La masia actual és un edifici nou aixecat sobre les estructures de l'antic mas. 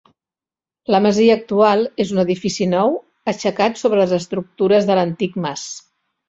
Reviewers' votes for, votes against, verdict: 2, 0, accepted